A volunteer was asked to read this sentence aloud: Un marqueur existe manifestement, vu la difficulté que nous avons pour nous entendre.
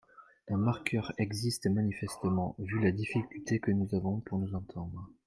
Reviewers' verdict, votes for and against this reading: rejected, 1, 2